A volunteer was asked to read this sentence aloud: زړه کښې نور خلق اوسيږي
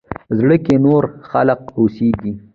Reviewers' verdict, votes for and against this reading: rejected, 1, 2